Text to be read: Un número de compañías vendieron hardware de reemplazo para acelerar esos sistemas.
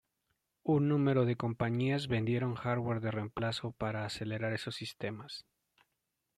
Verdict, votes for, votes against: accepted, 2, 0